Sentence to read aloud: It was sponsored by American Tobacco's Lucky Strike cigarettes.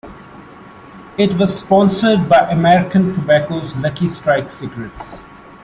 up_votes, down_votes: 2, 0